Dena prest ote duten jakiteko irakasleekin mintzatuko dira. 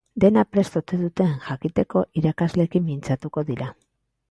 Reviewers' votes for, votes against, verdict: 2, 0, accepted